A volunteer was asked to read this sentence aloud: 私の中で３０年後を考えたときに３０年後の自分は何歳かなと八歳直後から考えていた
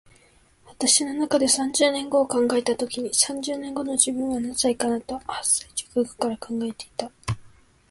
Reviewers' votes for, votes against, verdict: 0, 2, rejected